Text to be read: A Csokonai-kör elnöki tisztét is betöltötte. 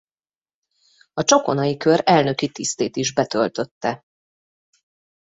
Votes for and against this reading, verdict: 2, 0, accepted